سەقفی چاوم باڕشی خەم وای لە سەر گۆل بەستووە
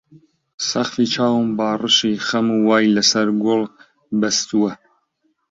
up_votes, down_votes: 2, 0